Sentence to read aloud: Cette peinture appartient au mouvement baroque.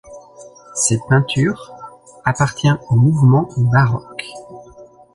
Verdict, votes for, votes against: accepted, 2, 0